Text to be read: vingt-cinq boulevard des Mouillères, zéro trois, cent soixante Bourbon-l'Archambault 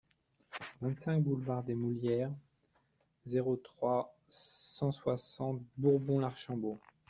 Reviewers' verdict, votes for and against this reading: accepted, 2, 1